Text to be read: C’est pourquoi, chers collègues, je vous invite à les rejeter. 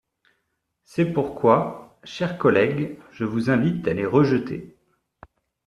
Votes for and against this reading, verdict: 2, 0, accepted